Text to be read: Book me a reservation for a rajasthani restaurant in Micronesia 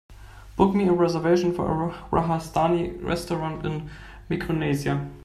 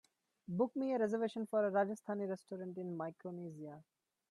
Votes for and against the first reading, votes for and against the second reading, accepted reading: 0, 2, 2, 0, second